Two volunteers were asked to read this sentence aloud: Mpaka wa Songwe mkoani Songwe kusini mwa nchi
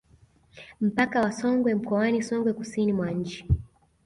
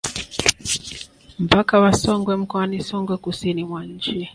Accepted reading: first